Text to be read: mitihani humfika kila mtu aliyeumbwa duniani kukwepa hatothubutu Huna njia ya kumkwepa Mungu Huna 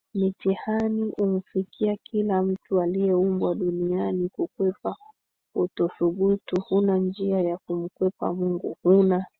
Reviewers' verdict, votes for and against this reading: rejected, 1, 3